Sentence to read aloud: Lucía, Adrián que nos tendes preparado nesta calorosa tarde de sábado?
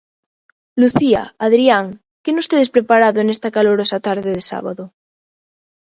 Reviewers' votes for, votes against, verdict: 1, 2, rejected